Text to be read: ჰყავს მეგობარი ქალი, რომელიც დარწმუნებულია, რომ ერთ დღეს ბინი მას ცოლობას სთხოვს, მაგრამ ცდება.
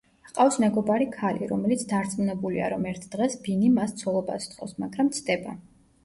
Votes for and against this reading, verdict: 1, 2, rejected